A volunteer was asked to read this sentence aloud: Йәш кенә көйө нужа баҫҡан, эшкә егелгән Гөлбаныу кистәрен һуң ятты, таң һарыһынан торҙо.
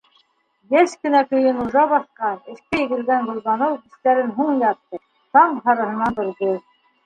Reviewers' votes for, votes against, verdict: 1, 2, rejected